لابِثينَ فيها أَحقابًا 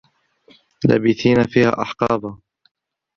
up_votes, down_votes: 0, 2